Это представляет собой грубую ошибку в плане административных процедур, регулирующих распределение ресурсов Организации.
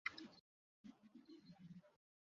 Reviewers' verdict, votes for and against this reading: rejected, 0, 2